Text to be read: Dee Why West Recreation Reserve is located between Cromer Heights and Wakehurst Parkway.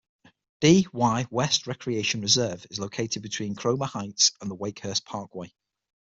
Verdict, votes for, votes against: accepted, 6, 3